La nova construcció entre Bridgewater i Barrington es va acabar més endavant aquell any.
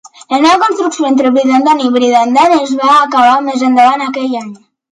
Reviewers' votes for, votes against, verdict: 0, 2, rejected